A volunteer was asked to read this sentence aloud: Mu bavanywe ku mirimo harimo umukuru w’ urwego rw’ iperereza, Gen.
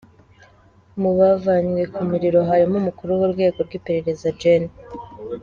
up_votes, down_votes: 0, 2